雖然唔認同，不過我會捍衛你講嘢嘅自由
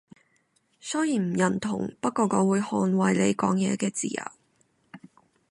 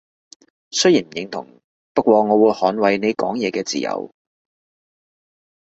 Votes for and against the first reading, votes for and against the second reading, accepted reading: 0, 2, 2, 0, second